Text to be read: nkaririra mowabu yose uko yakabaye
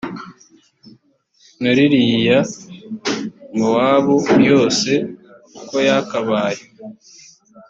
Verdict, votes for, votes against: rejected, 1, 2